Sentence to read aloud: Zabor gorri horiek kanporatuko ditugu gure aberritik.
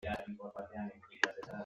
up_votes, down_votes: 1, 2